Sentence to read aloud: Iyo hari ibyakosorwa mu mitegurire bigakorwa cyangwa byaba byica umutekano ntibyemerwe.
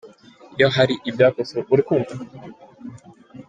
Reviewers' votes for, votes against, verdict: 0, 2, rejected